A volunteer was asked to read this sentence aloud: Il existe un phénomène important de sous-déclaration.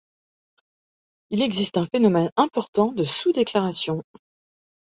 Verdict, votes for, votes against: accepted, 3, 0